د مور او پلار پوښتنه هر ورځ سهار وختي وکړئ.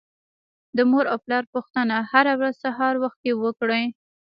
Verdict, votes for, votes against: rejected, 1, 2